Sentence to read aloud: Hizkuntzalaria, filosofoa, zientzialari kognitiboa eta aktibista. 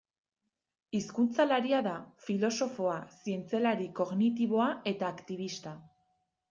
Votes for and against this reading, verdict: 0, 2, rejected